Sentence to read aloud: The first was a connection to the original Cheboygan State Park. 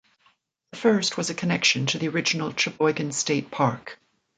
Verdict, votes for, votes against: rejected, 1, 2